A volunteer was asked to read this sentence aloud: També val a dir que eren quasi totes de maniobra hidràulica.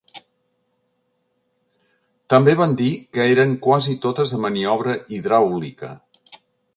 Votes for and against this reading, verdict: 1, 2, rejected